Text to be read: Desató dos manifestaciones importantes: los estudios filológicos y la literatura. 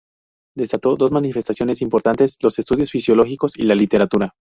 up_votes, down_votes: 0, 2